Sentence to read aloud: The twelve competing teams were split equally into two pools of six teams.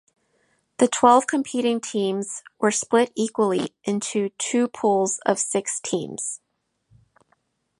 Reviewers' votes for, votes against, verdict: 2, 0, accepted